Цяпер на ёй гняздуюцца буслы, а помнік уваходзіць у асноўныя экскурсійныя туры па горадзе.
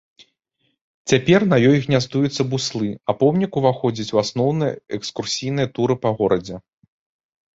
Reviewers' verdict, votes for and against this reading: accepted, 2, 0